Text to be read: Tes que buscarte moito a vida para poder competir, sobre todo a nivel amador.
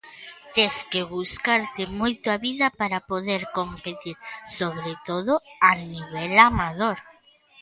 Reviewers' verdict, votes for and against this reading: accepted, 2, 0